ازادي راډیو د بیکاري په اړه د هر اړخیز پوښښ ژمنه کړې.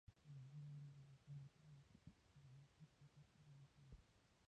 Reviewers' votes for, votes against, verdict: 1, 2, rejected